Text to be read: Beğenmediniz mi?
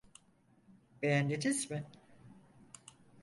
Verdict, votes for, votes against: rejected, 0, 4